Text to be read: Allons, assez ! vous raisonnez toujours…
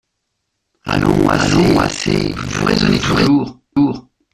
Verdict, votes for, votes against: rejected, 0, 2